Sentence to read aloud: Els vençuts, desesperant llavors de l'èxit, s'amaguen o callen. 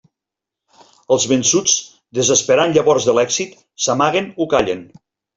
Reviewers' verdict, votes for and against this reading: accepted, 2, 0